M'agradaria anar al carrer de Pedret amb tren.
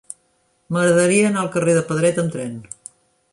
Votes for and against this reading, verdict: 3, 0, accepted